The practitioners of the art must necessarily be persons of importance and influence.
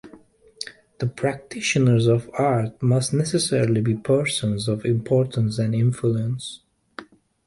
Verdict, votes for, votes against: rejected, 0, 2